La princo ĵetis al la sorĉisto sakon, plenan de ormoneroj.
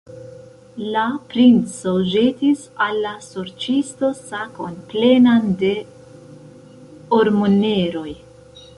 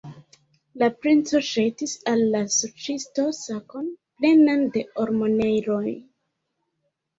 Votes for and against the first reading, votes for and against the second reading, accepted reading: 2, 1, 2, 3, first